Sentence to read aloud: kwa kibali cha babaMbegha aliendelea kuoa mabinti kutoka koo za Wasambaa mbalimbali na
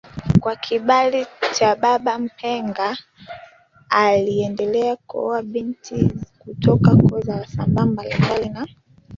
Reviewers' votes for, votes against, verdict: 1, 2, rejected